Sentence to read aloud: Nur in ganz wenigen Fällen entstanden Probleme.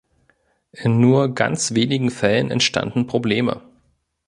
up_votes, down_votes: 0, 2